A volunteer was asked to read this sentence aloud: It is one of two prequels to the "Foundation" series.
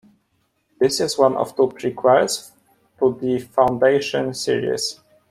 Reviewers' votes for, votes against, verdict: 1, 2, rejected